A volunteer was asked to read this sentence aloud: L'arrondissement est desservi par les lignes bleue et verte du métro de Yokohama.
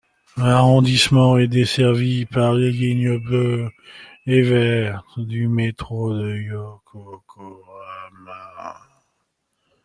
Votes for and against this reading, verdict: 1, 2, rejected